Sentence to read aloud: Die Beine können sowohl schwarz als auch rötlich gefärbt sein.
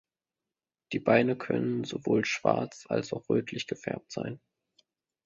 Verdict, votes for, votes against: accepted, 2, 0